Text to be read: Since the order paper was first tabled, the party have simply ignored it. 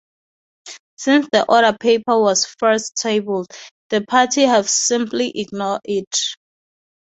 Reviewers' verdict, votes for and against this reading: accepted, 4, 0